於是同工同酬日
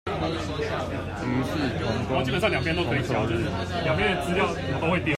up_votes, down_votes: 0, 2